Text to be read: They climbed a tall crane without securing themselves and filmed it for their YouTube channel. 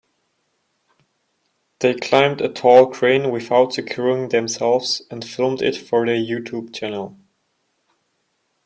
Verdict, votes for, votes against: accepted, 2, 0